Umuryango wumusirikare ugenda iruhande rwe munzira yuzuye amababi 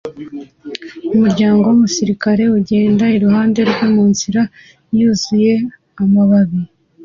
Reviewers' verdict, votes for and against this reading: accepted, 2, 0